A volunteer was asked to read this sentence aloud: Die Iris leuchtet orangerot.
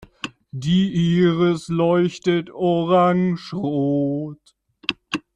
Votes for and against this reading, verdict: 1, 2, rejected